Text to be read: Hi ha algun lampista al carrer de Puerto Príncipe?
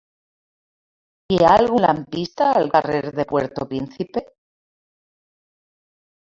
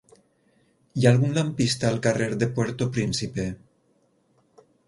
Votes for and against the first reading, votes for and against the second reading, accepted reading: 0, 2, 6, 0, second